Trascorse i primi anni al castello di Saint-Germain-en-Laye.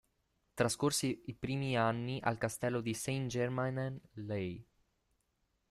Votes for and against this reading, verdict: 1, 2, rejected